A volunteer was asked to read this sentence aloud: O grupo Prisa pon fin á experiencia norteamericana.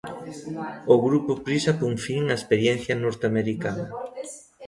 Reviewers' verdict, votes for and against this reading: rejected, 0, 2